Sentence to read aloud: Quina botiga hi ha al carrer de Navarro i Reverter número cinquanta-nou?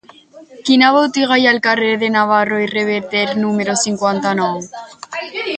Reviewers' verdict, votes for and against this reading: accepted, 2, 0